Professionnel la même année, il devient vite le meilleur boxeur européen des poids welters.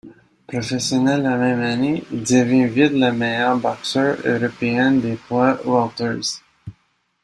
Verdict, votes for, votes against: accepted, 2, 0